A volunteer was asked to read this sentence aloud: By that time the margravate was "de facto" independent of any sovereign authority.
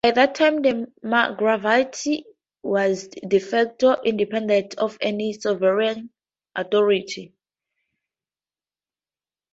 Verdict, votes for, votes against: rejected, 2, 2